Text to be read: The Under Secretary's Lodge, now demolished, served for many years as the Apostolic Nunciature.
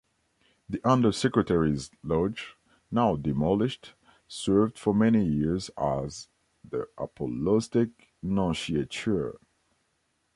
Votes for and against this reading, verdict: 1, 3, rejected